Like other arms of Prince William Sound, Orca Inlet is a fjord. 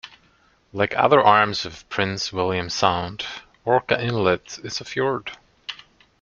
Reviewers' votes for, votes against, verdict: 2, 0, accepted